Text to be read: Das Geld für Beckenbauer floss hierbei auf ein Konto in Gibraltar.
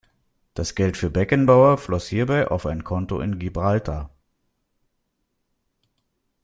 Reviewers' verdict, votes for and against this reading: accepted, 2, 0